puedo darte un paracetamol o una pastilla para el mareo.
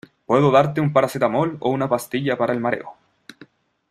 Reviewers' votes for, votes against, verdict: 2, 0, accepted